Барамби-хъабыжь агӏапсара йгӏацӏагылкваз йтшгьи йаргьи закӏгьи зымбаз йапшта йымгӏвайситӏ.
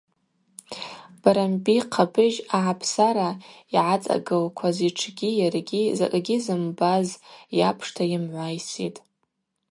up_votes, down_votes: 0, 2